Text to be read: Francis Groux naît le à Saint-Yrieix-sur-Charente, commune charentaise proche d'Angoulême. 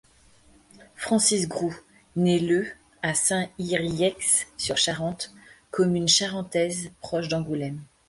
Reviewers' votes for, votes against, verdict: 1, 2, rejected